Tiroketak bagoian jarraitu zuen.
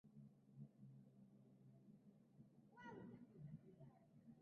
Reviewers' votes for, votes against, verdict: 0, 3, rejected